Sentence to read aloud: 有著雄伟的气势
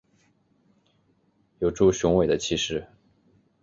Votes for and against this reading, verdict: 4, 1, accepted